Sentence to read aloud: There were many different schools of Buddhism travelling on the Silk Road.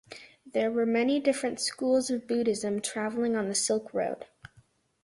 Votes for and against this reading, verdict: 2, 0, accepted